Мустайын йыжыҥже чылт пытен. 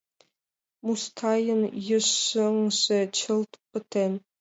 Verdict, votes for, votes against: rejected, 1, 2